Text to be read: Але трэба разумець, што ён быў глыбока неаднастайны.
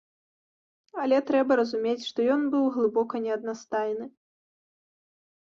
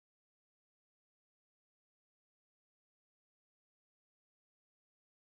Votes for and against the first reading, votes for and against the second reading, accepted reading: 2, 1, 0, 2, first